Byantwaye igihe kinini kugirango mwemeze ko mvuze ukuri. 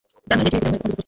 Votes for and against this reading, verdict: 1, 2, rejected